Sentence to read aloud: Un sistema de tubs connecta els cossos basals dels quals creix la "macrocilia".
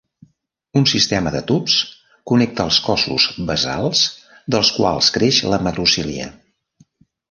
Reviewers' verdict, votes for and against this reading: rejected, 0, 2